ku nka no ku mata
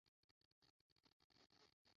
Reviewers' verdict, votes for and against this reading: rejected, 0, 2